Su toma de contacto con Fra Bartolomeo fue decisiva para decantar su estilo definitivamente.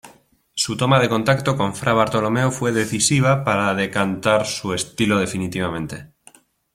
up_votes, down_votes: 2, 0